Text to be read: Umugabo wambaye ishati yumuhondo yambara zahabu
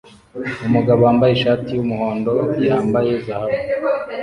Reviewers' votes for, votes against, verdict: 0, 2, rejected